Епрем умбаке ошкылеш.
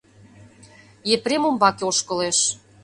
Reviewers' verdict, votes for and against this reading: accepted, 2, 0